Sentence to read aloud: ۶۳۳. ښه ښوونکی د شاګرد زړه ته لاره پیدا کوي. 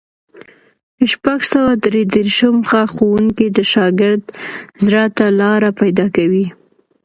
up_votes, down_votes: 0, 2